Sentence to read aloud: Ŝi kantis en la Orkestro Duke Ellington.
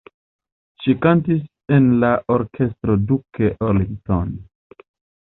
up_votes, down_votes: 0, 2